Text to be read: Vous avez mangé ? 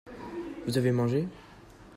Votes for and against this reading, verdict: 2, 0, accepted